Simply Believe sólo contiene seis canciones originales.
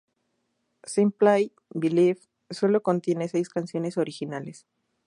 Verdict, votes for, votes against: accepted, 4, 0